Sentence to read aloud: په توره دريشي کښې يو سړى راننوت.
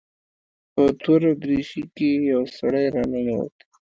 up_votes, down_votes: 2, 3